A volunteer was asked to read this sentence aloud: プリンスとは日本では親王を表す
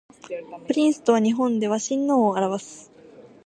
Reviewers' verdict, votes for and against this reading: accepted, 2, 0